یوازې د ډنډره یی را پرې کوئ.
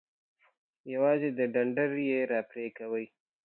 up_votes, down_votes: 2, 1